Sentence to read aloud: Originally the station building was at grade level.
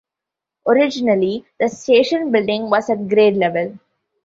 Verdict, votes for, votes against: accepted, 2, 1